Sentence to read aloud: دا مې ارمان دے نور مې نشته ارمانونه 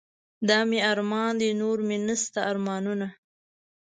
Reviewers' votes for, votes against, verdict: 2, 0, accepted